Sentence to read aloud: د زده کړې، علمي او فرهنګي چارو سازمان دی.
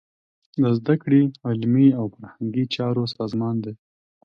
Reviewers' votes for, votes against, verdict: 2, 0, accepted